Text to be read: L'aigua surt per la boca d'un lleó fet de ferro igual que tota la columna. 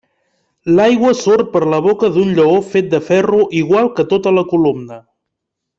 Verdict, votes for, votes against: accepted, 5, 1